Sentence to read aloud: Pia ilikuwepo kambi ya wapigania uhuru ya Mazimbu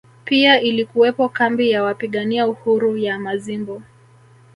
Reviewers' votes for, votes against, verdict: 3, 1, accepted